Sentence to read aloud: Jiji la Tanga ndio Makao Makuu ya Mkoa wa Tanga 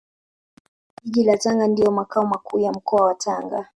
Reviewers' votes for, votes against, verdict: 3, 1, accepted